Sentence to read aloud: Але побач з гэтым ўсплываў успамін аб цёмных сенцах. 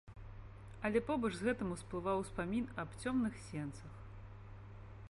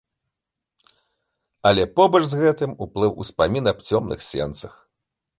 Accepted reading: first